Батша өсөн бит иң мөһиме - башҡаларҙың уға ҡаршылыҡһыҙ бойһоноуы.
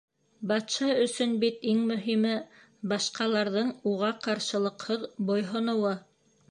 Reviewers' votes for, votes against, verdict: 3, 0, accepted